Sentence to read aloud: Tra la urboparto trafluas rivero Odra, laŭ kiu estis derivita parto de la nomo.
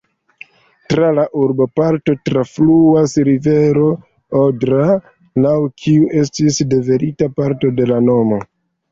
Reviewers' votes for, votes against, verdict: 2, 0, accepted